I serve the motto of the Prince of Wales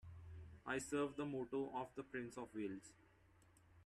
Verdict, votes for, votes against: accepted, 2, 0